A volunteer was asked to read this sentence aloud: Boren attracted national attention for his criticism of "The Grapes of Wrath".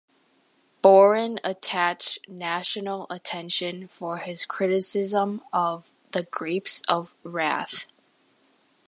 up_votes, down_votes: 0, 2